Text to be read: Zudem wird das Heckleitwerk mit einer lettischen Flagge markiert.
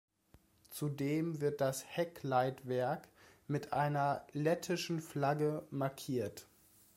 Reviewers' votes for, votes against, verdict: 2, 0, accepted